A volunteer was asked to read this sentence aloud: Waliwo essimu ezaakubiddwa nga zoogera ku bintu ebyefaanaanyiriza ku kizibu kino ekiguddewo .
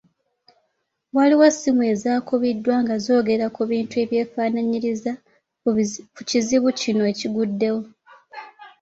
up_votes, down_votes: 2, 0